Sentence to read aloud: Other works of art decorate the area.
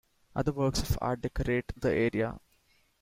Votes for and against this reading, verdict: 2, 0, accepted